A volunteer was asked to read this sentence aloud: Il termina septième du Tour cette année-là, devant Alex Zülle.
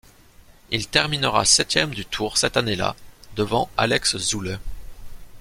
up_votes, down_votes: 1, 2